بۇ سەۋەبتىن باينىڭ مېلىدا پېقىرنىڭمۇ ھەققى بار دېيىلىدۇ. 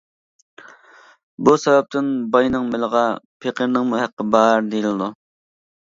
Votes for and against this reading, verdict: 1, 2, rejected